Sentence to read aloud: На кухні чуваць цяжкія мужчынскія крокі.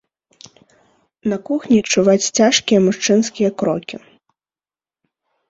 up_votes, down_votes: 3, 0